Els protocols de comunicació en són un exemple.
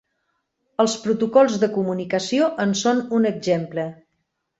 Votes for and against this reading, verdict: 4, 0, accepted